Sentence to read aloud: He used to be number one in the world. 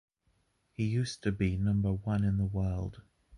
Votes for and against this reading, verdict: 2, 1, accepted